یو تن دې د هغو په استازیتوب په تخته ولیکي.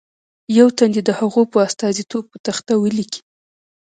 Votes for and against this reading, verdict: 0, 2, rejected